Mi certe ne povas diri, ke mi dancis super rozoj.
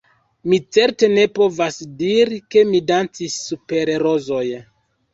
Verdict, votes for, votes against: rejected, 1, 2